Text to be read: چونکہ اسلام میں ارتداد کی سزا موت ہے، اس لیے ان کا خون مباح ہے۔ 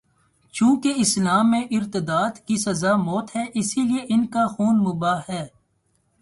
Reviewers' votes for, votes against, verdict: 2, 0, accepted